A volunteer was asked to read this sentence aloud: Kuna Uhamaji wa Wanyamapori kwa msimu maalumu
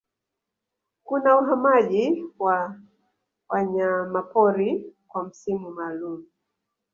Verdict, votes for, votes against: rejected, 0, 2